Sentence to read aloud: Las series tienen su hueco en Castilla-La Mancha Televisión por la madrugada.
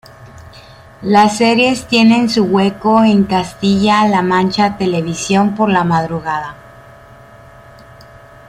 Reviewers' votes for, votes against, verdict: 2, 0, accepted